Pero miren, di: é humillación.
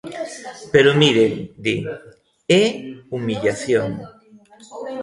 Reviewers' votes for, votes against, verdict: 2, 1, accepted